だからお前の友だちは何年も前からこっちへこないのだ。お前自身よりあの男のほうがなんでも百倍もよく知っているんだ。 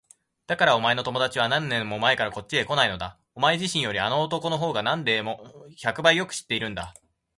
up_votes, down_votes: 1, 2